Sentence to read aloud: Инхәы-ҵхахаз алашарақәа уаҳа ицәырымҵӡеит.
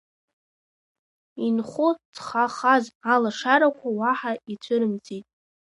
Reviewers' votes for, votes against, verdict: 0, 2, rejected